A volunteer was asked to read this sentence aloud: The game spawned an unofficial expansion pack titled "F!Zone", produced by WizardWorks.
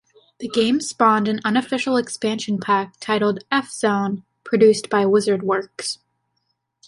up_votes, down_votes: 2, 0